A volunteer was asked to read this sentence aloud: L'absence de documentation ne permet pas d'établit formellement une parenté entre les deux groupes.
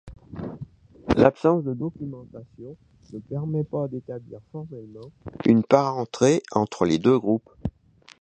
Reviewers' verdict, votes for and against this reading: rejected, 1, 2